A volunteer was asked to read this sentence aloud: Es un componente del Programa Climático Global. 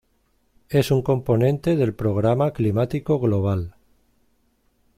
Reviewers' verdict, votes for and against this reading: accepted, 2, 0